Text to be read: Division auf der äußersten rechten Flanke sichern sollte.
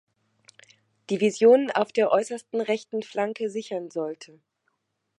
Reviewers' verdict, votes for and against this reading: rejected, 1, 2